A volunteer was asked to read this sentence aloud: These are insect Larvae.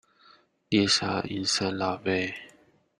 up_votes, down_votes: 1, 2